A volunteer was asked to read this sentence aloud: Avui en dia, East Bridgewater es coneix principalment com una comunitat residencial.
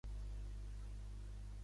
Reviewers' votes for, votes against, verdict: 0, 2, rejected